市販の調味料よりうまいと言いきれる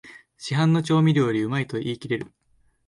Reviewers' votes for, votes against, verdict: 2, 0, accepted